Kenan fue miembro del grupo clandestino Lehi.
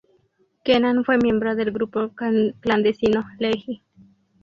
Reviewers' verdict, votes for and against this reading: rejected, 0, 2